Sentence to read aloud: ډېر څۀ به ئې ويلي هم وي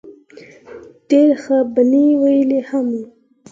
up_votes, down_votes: 0, 4